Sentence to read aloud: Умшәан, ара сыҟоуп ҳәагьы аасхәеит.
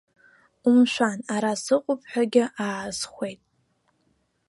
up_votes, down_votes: 1, 2